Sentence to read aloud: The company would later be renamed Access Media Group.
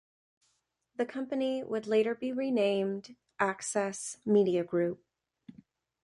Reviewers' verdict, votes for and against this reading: accepted, 2, 0